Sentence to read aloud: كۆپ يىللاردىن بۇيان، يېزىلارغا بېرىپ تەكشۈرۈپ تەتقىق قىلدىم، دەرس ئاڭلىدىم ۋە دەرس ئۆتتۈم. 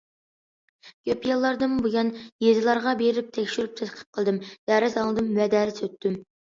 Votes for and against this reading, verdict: 2, 0, accepted